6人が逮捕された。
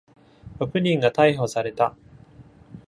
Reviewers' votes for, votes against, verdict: 0, 2, rejected